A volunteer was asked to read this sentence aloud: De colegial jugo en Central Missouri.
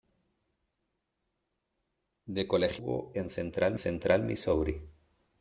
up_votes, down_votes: 0, 2